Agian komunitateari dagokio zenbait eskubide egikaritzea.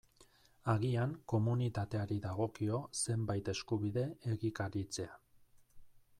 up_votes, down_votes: 2, 0